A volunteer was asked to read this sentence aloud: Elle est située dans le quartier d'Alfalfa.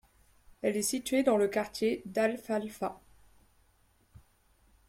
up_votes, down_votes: 0, 2